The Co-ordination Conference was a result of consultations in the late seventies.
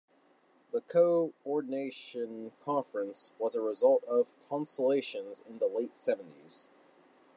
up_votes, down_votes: 0, 2